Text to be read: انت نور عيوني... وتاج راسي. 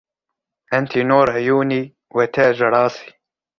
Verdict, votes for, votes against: rejected, 1, 2